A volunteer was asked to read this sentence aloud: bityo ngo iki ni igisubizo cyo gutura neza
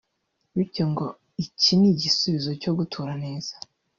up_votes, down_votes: 1, 2